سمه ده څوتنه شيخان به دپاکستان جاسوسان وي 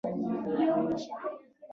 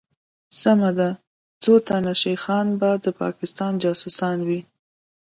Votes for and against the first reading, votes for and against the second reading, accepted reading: 1, 2, 2, 0, second